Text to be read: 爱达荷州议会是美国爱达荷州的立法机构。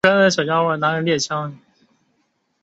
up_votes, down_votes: 2, 4